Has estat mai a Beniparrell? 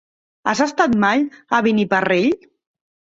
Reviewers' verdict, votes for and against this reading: rejected, 0, 2